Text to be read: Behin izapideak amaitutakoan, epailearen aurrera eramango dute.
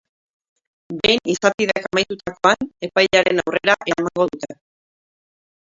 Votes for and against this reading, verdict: 0, 2, rejected